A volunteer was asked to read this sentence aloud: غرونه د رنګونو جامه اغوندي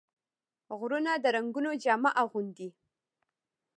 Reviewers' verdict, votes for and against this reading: accepted, 2, 0